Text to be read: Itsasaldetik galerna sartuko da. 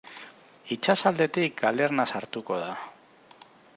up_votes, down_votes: 6, 0